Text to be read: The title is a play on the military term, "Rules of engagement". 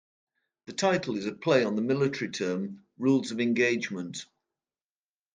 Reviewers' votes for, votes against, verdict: 2, 0, accepted